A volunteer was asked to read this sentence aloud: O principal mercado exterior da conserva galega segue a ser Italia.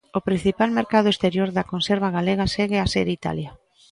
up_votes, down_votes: 2, 0